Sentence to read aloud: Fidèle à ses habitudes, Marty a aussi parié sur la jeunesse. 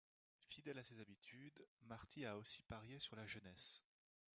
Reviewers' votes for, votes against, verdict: 2, 0, accepted